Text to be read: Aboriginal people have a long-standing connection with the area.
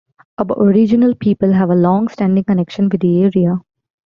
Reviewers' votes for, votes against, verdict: 2, 0, accepted